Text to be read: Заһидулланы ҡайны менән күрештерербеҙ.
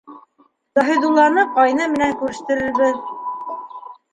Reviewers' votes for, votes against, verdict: 2, 1, accepted